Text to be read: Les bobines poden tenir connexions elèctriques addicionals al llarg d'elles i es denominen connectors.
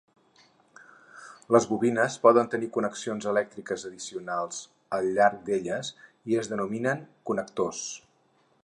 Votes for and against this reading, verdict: 4, 0, accepted